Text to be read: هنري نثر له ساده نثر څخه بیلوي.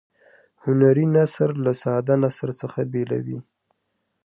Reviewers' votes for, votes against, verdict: 2, 1, accepted